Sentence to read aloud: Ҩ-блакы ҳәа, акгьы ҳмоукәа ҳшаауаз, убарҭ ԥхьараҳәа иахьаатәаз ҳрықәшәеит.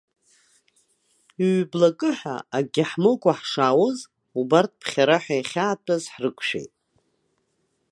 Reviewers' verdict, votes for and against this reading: rejected, 1, 2